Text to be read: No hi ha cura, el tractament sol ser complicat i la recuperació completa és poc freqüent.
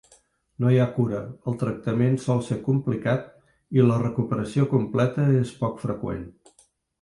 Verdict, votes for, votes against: accepted, 3, 0